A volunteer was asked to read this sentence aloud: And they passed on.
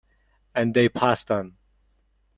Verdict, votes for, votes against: rejected, 0, 2